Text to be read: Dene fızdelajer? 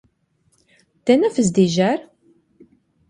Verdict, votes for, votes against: rejected, 0, 2